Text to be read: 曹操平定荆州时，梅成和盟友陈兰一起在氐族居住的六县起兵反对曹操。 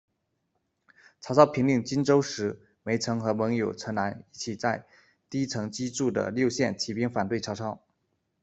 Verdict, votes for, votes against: rejected, 1, 2